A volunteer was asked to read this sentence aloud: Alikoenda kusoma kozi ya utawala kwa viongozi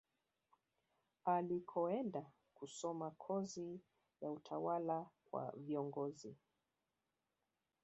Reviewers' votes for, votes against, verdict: 0, 4, rejected